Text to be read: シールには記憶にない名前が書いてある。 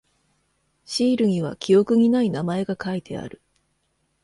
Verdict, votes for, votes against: accepted, 2, 0